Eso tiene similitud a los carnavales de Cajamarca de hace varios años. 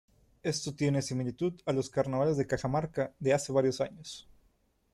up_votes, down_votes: 1, 2